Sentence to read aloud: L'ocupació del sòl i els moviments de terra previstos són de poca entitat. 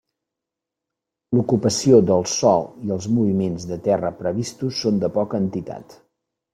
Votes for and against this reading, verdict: 3, 0, accepted